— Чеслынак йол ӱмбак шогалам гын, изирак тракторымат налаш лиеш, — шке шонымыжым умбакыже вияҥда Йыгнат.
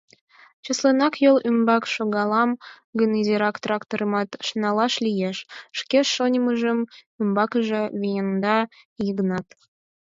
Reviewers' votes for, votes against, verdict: 2, 4, rejected